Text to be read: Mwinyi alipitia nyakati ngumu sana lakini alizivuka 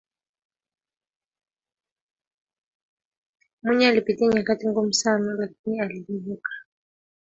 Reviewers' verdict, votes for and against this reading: accepted, 4, 2